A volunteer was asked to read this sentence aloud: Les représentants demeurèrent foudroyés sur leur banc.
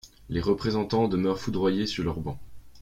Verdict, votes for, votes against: rejected, 0, 2